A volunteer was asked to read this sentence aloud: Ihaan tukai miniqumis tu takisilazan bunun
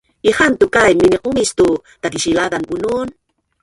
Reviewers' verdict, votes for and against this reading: rejected, 1, 2